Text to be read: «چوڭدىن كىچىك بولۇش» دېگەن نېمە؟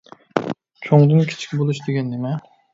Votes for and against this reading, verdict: 1, 2, rejected